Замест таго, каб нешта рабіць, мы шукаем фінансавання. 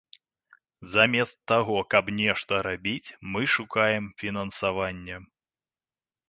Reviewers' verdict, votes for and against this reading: accepted, 2, 0